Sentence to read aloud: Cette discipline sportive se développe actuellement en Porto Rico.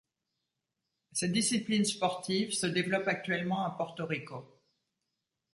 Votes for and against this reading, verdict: 1, 2, rejected